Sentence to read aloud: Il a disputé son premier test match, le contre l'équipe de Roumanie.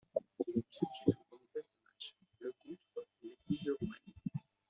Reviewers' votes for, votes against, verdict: 0, 2, rejected